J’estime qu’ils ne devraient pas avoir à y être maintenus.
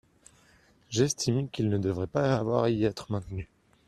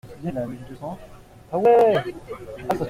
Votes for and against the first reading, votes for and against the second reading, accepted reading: 2, 0, 0, 2, first